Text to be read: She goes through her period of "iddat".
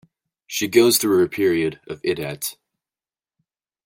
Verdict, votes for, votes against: accepted, 2, 0